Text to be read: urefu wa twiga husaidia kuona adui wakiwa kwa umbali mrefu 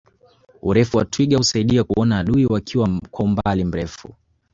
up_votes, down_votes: 1, 3